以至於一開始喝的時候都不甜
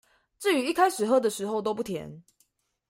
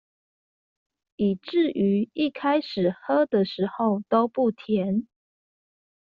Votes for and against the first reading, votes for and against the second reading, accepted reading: 1, 2, 2, 0, second